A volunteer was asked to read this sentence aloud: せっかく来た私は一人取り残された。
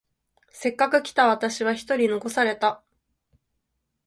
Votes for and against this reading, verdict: 0, 6, rejected